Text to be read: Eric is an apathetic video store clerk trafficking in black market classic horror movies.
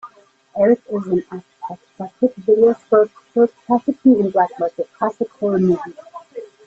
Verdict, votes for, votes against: rejected, 1, 2